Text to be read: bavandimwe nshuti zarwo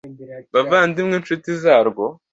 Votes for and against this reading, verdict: 2, 0, accepted